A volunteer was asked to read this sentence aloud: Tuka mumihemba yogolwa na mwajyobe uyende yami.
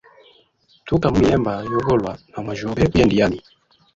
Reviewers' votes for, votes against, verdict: 1, 3, rejected